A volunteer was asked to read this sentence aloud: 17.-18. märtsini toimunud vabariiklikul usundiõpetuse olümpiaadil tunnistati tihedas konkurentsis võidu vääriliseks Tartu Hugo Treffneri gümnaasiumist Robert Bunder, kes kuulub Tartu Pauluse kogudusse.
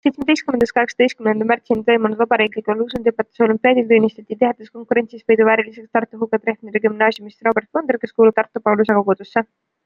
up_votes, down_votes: 0, 2